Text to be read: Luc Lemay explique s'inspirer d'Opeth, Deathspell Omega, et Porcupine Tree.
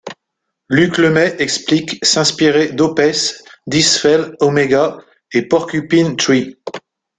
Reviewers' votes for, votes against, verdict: 2, 0, accepted